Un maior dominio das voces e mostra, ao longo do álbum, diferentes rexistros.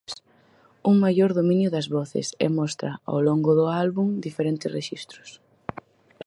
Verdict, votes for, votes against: accepted, 4, 0